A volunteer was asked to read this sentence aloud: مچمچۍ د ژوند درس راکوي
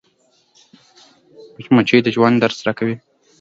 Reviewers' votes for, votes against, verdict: 2, 0, accepted